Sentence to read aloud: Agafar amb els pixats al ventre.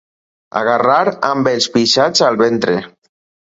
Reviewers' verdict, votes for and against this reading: rejected, 2, 4